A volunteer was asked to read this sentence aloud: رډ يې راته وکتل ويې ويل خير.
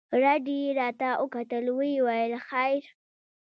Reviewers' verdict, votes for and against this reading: rejected, 0, 2